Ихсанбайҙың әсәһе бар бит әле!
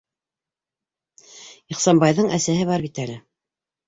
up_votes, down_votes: 2, 1